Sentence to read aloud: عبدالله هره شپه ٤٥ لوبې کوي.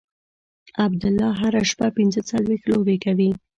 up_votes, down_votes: 0, 2